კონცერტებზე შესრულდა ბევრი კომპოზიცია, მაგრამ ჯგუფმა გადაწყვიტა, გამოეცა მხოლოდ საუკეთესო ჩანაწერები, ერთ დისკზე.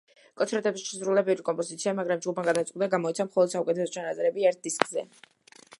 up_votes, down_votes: 2, 0